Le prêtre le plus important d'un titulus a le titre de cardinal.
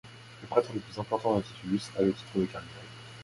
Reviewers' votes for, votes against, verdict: 0, 2, rejected